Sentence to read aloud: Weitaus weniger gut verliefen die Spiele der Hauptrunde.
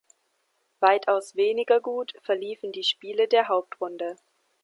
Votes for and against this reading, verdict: 2, 0, accepted